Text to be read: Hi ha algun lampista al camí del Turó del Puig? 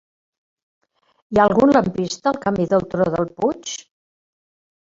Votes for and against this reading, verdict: 1, 2, rejected